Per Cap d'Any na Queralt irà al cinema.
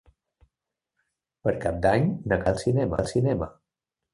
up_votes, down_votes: 0, 2